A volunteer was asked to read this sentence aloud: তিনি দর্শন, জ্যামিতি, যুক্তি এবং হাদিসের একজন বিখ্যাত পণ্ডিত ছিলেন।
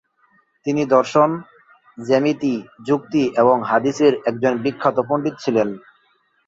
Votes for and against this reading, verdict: 25, 3, accepted